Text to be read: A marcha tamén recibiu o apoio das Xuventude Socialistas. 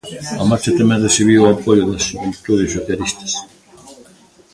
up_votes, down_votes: 1, 2